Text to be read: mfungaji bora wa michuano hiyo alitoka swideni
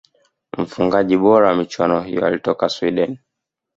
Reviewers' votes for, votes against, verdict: 2, 0, accepted